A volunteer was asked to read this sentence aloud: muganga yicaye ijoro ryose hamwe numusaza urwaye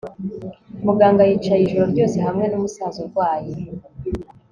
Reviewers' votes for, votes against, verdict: 2, 0, accepted